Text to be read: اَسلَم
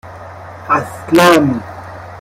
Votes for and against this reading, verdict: 2, 1, accepted